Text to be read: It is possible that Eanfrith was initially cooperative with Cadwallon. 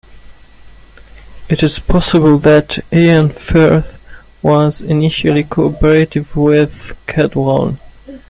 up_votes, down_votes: 0, 2